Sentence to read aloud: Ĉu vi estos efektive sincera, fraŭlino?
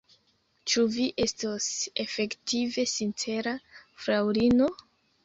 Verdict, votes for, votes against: accepted, 2, 1